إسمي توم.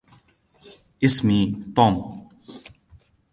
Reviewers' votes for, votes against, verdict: 2, 0, accepted